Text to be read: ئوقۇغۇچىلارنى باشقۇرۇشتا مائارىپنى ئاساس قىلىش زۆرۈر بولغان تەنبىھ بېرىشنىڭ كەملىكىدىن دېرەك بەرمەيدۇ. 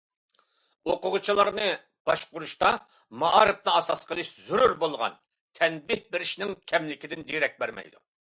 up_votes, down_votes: 2, 0